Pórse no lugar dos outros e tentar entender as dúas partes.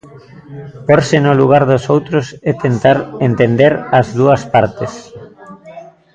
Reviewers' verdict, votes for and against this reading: accepted, 3, 1